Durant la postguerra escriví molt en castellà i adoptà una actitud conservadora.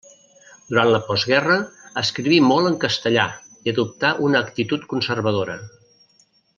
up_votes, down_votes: 3, 0